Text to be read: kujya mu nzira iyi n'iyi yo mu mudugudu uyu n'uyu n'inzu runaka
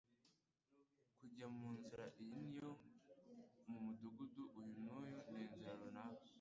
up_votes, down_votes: 1, 2